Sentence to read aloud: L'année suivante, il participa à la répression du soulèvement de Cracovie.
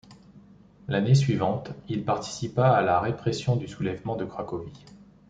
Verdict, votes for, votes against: accepted, 2, 0